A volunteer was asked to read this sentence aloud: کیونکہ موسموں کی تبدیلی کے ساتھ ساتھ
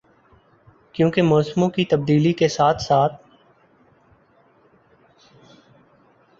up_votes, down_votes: 2, 3